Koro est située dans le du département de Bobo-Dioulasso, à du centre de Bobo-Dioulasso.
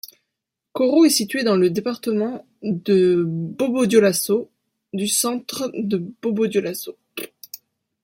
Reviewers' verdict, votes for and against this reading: accepted, 2, 0